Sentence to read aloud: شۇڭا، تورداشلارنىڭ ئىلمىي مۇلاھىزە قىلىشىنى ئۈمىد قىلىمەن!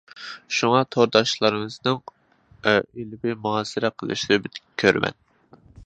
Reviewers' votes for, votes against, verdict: 0, 2, rejected